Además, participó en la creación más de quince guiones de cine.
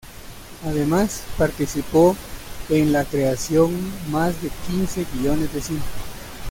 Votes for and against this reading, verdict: 1, 2, rejected